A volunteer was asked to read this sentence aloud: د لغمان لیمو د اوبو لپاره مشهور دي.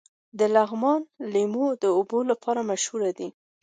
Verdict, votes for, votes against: accepted, 2, 0